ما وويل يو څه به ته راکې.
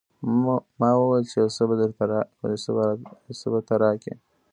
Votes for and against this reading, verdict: 0, 2, rejected